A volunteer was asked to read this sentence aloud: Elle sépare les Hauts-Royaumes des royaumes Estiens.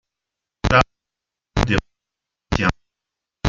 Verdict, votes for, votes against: rejected, 0, 2